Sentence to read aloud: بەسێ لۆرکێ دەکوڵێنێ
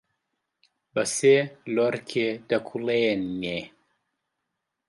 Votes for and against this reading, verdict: 2, 0, accepted